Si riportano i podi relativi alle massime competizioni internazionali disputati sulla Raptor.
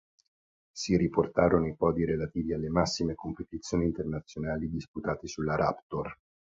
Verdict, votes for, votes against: rejected, 0, 2